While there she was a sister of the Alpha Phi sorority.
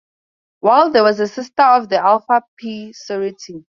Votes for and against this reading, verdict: 0, 4, rejected